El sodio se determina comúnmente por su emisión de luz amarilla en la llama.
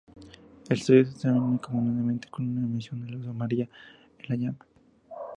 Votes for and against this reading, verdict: 0, 2, rejected